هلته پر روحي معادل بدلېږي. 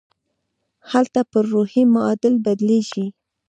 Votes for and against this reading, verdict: 1, 2, rejected